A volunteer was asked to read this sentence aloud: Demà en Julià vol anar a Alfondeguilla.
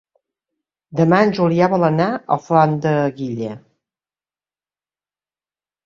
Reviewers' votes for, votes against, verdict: 1, 2, rejected